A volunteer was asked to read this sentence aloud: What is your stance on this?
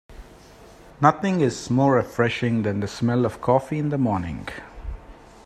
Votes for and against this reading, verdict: 1, 2, rejected